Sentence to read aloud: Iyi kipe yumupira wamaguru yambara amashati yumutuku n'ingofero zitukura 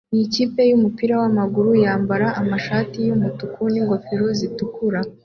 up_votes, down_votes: 2, 0